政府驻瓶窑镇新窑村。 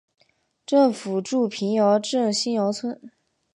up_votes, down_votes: 2, 0